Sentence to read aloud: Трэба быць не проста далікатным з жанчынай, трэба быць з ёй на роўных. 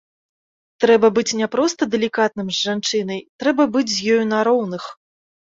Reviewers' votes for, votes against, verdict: 2, 0, accepted